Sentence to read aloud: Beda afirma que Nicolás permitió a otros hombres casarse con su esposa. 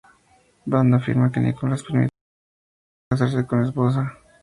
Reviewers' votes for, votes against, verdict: 0, 2, rejected